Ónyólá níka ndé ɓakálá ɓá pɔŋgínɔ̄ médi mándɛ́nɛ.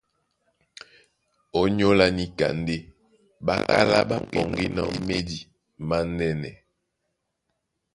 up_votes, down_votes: 1, 2